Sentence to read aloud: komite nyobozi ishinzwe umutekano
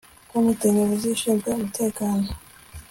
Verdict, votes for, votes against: accepted, 2, 0